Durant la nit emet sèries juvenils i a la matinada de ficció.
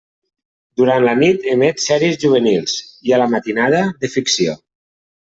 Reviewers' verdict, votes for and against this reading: accepted, 3, 0